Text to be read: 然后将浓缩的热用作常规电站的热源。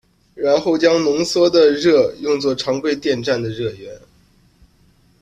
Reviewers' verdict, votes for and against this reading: accepted, 2, 0